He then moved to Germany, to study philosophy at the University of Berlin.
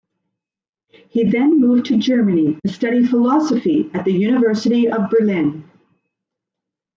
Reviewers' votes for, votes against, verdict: 2, 0, accepted